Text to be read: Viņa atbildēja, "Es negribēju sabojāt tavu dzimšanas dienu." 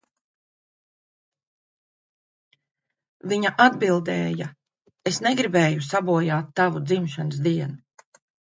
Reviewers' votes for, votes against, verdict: 2, 0, accepted